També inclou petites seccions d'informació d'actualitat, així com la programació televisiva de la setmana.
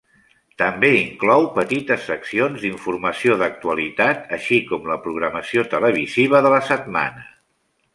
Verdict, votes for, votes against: accepted, 3, 0